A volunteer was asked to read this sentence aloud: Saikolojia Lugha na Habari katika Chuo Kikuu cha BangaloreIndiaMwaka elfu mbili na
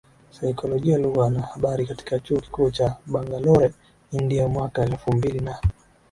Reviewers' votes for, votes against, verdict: 15, 2, accepted